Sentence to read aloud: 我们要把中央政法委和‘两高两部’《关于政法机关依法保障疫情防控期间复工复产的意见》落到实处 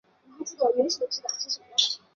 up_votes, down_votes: 0, 3